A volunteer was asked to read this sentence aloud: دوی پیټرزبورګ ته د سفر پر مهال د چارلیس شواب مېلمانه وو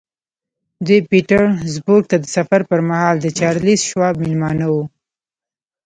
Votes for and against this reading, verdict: 1, 2, rejected